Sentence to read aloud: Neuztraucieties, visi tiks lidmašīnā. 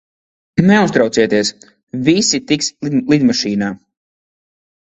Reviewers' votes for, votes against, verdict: 0, 2, rejected